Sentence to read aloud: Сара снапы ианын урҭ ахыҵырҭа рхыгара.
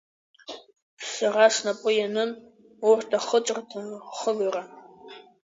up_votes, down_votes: 3, 1